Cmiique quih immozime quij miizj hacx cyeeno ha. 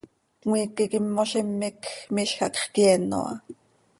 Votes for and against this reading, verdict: 2, 0, accepted